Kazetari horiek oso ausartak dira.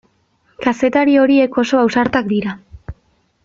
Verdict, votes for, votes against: accepted, 2, 0